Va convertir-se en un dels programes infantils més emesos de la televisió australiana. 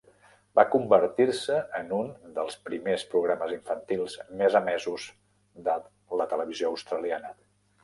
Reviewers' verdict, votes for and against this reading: rejected, 1, 2